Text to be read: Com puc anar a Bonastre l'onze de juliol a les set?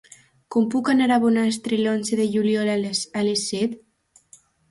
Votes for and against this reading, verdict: 1, 2, rejected